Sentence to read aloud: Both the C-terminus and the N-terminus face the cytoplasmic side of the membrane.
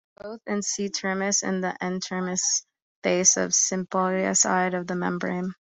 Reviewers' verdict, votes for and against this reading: rejected, 0, 3